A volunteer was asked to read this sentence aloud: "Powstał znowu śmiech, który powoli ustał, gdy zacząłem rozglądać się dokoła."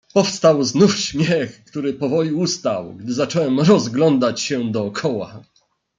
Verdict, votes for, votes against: rejected, 0, 2